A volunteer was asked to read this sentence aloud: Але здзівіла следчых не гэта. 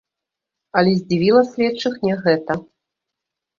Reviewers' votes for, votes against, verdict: 0, 2, rejected